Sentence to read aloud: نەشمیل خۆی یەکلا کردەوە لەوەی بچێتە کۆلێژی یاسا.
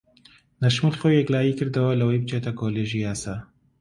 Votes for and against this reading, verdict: 1, 2, rejected